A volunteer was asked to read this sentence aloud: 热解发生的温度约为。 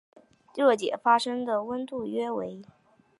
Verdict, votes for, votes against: accepted, 2, 0